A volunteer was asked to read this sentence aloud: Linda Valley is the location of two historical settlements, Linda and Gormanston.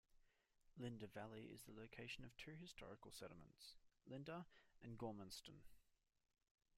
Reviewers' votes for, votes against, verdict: 1, 2, rejected